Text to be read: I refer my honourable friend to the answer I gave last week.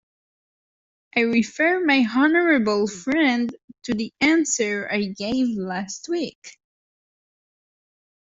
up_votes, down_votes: 1, 2